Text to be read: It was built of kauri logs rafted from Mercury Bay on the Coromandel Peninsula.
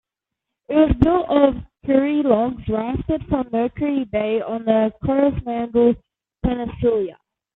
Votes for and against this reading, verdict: 0, 2, rejected